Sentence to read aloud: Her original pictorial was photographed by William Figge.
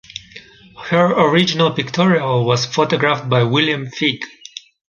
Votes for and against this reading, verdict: 2, 0, accepted